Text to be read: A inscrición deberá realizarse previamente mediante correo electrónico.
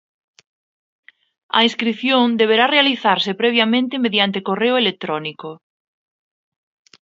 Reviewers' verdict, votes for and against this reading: accepted, 2, 0